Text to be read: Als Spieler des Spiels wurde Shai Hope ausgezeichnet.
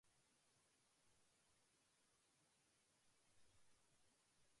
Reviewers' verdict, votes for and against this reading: rejected, 0, 2